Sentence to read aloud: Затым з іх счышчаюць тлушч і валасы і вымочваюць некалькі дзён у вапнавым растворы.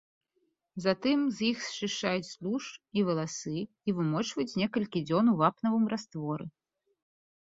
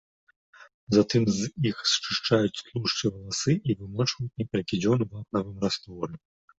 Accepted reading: first